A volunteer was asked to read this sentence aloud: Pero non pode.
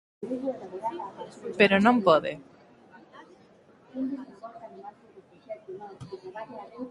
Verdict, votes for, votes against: rejected, 0, 2